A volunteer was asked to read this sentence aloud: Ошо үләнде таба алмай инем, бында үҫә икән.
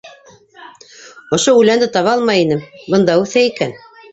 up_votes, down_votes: 1, 2